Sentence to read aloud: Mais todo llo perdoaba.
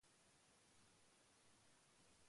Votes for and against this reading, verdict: 0, 2, rejected